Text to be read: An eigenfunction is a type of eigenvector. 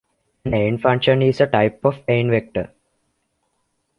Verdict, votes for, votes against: accepted, 2, 1